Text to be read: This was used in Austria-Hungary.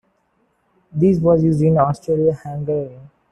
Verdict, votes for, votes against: accepted, 2, 1